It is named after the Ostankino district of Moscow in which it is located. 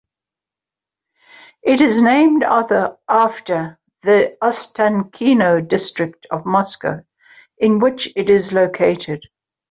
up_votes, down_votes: 0, 2